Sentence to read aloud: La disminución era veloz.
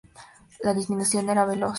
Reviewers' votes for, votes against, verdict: 4, 0, accepted